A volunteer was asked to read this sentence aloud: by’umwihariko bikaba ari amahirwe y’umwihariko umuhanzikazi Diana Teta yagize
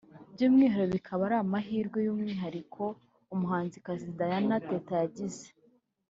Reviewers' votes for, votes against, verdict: 2, 1, accepted